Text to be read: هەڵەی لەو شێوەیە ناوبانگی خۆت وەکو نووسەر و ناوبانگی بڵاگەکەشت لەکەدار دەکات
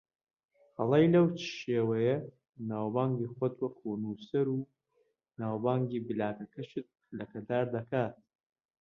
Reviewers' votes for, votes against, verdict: 2, 0, accepted